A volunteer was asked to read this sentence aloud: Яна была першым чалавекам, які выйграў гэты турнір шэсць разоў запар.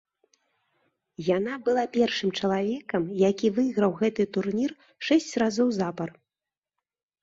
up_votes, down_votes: 2, 0